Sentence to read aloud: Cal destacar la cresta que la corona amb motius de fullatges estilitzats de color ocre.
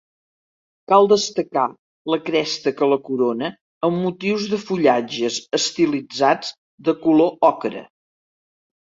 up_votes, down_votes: 2, 0